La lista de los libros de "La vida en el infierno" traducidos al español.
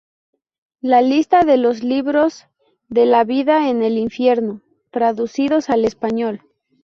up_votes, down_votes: 2, 0